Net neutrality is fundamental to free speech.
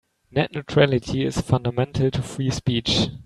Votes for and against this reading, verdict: 2, 0, accepted